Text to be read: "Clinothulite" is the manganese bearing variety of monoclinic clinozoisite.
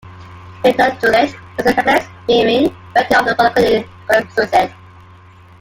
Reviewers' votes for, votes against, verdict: 0, 2, rejected